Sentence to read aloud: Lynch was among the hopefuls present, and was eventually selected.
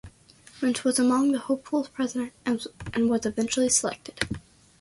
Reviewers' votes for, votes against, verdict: 1, 2, rejected